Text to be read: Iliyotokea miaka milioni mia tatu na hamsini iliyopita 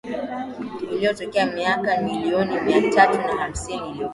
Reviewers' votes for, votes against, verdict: 1, 2, rejected